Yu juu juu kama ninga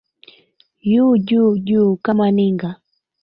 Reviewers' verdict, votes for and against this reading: rejected, 1, 2